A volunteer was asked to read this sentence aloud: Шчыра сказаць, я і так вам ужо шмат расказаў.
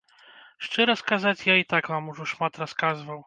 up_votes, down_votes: 1, 2